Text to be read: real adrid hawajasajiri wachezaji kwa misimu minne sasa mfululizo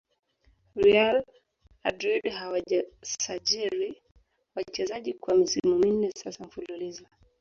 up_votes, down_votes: 2, 3